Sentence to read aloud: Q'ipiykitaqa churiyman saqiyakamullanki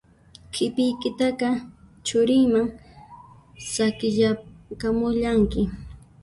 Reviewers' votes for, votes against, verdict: 2, 1, accepted